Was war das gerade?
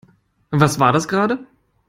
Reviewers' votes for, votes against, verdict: 2, 0, accepted